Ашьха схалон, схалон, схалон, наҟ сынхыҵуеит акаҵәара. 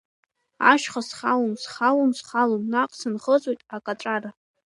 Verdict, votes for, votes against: accepted, 4, 0